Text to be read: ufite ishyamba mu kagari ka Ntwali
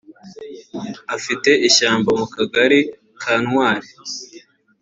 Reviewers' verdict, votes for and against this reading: rejected, 0, 2